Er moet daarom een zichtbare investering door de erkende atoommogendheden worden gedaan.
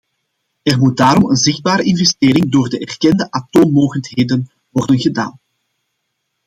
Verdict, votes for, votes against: accepted, 2, 0